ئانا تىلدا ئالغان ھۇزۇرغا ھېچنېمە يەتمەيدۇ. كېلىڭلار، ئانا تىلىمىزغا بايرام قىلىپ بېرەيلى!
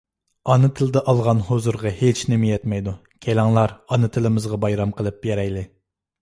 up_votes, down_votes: 2, 0